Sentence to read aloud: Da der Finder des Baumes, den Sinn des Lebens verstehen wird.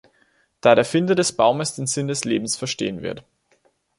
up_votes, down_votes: 2, 0